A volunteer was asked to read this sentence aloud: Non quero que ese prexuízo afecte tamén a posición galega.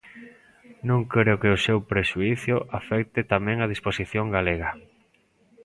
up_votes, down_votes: 0, 2